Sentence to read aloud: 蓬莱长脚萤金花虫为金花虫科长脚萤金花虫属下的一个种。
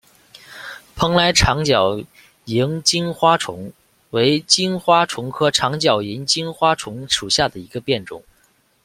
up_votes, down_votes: 0, 2